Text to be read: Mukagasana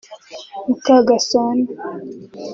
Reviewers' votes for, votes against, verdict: 2, 1, accepted